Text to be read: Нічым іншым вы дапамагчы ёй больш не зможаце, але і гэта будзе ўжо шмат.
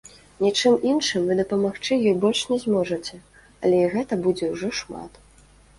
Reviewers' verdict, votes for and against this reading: accepted, 2, 0